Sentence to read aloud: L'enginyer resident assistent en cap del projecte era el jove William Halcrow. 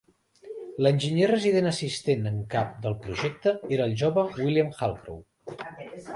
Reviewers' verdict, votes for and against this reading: accepted, 2, 0